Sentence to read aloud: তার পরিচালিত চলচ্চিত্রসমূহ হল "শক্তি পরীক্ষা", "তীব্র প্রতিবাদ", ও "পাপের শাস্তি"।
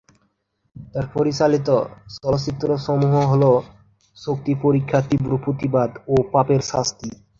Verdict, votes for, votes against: accepted, 3, 1